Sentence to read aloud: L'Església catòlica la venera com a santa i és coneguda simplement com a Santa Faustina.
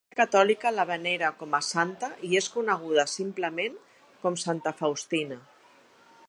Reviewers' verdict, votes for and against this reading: rejected, 0, 2